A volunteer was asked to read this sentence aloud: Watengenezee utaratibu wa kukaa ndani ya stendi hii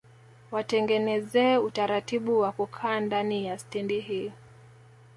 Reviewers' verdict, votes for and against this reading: accepted, 2, 0